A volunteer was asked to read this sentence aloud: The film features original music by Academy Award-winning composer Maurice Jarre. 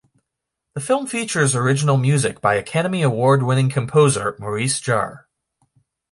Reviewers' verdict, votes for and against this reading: accepted, 2, 0